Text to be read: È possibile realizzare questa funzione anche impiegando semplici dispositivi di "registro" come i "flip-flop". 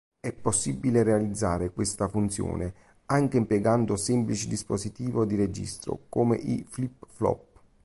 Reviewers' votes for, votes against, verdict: 2, 3, rejected